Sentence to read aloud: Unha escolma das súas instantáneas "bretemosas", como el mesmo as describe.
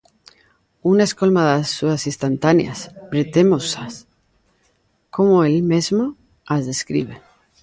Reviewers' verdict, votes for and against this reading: rejected, 1, 2